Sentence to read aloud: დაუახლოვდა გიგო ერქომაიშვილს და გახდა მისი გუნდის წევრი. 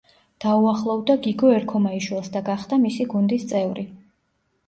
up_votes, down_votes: 3, 0